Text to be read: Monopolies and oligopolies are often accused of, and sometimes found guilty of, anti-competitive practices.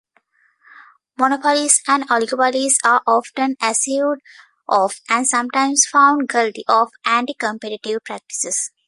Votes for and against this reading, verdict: 0, 2, rejected